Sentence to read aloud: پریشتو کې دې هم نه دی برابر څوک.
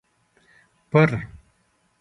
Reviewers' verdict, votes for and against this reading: rejected, 1, 2